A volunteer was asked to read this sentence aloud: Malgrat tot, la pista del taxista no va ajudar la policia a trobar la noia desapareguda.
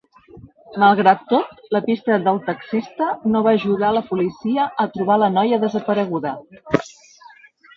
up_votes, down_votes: 2, 0